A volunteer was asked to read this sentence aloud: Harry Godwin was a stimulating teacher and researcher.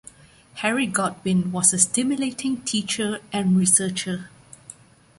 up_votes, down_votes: 2, 0